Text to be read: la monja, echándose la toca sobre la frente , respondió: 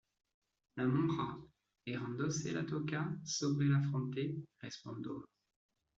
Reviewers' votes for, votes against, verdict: 0, 2, rejected